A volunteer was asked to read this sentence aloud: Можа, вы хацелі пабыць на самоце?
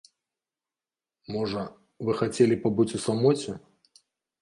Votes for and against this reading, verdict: 0, 2, rejected